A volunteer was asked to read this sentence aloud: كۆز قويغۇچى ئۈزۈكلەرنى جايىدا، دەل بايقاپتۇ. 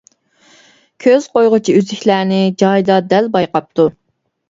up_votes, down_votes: 2, 0